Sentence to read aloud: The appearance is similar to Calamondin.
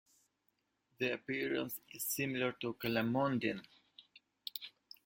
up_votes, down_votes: 2, 0